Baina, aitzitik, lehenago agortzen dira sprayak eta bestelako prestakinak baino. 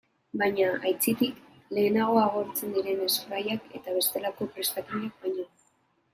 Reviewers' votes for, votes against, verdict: 0, 2, rejected